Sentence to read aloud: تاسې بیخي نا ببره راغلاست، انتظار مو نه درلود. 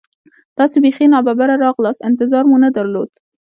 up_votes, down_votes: 1, 2